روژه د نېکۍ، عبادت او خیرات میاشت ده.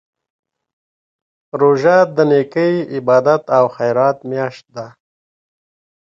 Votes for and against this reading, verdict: 2, 0, accepted